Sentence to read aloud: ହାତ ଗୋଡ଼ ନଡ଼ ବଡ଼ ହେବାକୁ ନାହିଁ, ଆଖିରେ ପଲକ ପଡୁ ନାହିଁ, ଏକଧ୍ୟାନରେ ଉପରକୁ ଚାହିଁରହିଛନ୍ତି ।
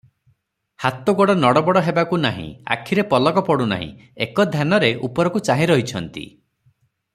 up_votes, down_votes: 3, 0